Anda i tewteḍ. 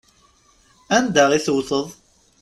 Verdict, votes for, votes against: rejected, 1, 2